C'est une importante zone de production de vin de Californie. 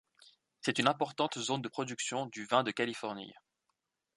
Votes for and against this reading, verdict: 1, 2, rejected